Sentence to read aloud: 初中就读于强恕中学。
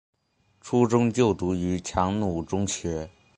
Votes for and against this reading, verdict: 2, 3, rejected